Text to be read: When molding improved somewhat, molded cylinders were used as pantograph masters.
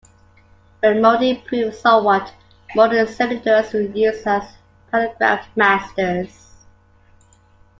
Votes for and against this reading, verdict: 0, 2, rejected